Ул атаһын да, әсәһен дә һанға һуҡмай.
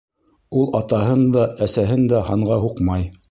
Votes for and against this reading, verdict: 2, 0, accepted